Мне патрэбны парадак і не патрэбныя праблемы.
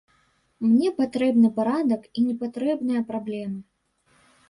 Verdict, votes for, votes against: accepted, 2, 0